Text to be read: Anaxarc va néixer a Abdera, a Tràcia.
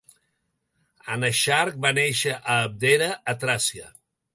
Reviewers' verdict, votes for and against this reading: accepted, 4, 0